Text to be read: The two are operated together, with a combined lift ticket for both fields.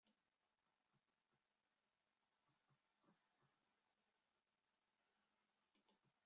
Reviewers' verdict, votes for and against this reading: rejected, 0, 2